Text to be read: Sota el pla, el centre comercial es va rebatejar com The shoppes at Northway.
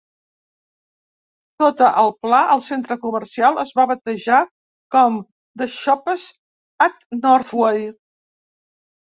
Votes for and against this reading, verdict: 0, 2, rejected